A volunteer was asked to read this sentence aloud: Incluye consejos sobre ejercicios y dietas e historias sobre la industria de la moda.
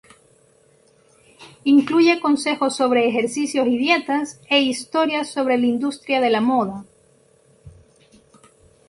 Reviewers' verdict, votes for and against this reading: rejected, 0, 2